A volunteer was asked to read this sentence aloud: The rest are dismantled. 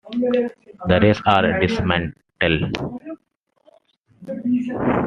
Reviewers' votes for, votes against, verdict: 2, 0, accepted